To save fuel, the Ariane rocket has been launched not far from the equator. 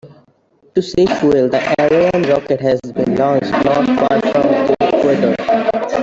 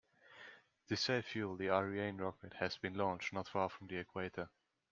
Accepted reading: second